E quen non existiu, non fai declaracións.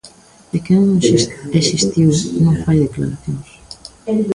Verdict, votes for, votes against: rejected, 0, 2